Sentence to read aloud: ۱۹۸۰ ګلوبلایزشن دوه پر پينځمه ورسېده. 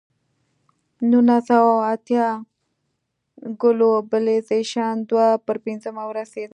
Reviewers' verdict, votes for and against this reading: rejected, 0, 2